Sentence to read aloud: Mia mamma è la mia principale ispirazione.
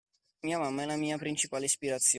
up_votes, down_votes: 1, 2